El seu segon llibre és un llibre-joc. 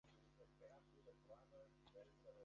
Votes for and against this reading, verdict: 0, 3, rejected